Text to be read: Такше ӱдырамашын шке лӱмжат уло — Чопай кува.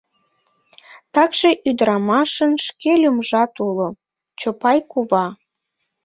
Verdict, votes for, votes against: accepted, 2, 0